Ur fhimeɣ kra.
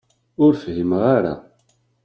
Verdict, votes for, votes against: rejected, 0, 2